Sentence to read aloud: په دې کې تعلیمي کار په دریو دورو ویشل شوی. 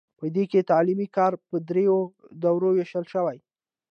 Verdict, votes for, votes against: accepted, 2, 0